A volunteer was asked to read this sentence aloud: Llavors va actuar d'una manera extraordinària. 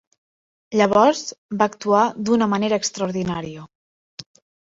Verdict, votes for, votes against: accepted, 3, 0